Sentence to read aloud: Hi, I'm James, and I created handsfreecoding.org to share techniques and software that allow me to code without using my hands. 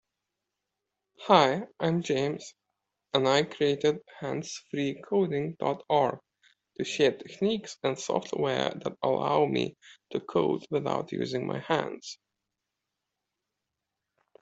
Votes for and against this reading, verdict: 2, 0, accepted